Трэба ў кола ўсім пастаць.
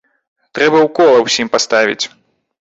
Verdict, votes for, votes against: rejected, 1, 2